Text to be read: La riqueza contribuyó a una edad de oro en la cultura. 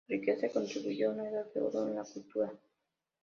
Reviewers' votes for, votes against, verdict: 1, 2, rejected